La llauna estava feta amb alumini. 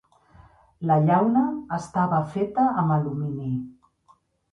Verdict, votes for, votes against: accepted, 3, 1